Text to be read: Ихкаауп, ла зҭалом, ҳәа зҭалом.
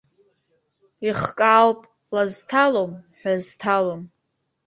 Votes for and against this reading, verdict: 2, 0, accepted